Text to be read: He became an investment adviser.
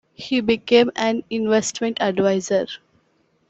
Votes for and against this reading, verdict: 2, 0, accepted